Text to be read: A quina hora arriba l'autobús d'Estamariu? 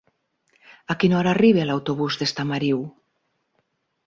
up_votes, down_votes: 6, 0